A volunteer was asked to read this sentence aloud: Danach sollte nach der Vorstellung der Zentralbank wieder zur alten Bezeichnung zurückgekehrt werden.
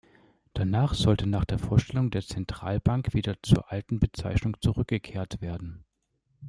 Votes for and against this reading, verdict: 2, 0, accepted